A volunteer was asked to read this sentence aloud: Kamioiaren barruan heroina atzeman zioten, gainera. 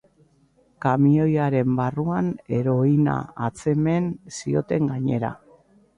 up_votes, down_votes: 2, 0